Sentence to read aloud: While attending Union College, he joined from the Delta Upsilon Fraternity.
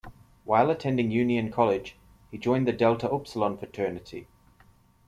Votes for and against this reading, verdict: 1, 3, rejected